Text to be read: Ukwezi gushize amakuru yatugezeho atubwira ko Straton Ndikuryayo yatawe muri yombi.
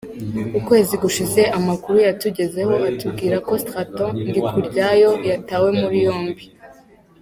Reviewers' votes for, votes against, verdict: 0, 2, rejected